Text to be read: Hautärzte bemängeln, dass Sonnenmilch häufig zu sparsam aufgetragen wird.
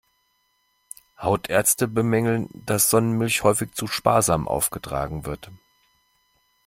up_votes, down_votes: 2, 0